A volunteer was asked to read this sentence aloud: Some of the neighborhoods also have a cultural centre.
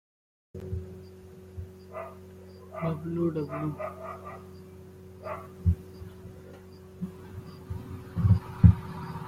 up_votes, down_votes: 0, 2